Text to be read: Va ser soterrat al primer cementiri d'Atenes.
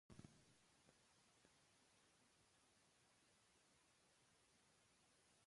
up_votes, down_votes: 0, 2